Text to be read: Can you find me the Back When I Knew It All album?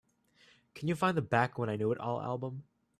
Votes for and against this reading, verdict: 1, 2, rejected